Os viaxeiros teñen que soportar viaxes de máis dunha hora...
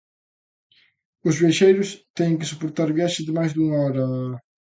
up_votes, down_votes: 1, 2